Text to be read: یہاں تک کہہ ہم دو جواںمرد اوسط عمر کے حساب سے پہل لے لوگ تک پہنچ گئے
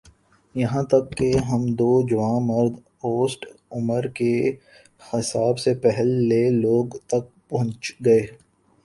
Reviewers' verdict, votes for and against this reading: rejected, 1, 2